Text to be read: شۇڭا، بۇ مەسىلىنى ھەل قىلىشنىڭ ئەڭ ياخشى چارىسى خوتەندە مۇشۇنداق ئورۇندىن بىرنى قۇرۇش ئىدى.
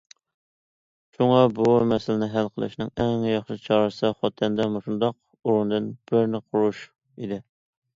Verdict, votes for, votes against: accepted, 2, 0